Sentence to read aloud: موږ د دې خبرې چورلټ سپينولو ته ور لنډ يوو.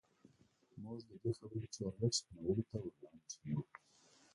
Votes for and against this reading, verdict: 0, 2, rejected